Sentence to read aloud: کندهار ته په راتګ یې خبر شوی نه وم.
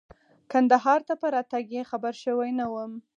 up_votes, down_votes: 6, 0